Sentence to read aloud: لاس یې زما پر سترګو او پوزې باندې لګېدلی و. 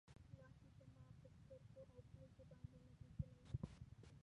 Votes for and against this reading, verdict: 0, 2, rejected